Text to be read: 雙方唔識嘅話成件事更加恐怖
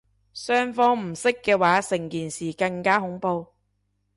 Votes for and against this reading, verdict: 2, 0, accepted